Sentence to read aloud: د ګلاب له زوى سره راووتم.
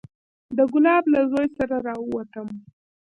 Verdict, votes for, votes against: rejected, 1, 2